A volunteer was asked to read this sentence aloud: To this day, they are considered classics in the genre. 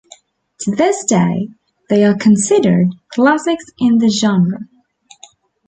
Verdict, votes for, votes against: accepted, 2, 0